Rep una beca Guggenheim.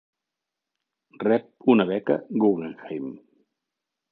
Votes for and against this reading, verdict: 2, 0, accepted